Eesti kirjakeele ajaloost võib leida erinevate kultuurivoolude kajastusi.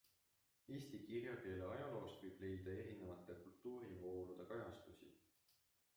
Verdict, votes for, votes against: rejected, 0, 2